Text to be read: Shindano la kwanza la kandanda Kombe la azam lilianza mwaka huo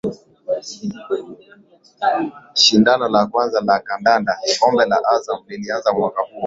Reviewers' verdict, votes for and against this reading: rejected, 2, 2